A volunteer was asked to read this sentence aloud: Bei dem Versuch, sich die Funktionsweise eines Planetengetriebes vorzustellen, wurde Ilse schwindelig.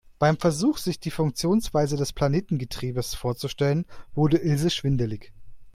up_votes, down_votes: 0, 2